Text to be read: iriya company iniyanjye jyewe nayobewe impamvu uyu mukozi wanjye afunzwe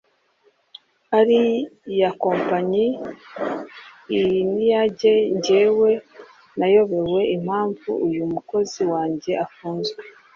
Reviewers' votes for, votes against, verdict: 0, 2, rejected